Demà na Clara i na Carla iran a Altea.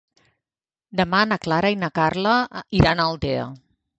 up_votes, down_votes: 1, 2